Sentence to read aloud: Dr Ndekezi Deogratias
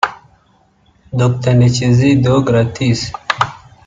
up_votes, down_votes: 2, 1